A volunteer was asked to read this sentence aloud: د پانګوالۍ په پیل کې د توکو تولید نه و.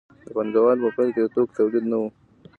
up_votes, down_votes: 2, 0